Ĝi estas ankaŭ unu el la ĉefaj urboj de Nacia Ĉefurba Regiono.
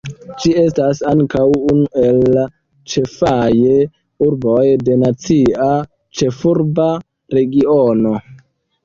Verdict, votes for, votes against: rejected, 1, 2